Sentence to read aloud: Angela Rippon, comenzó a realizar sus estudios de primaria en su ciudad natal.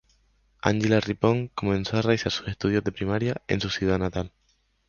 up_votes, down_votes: 0, 2